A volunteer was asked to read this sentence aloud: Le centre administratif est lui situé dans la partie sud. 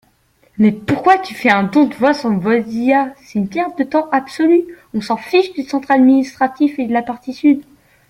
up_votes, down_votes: 0, 2